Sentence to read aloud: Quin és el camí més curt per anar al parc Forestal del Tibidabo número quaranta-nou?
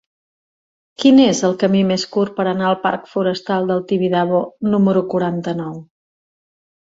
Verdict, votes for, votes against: accepted, 3, 1